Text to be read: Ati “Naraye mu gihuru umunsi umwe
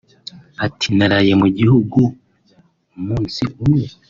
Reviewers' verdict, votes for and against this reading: rejected, 1, 2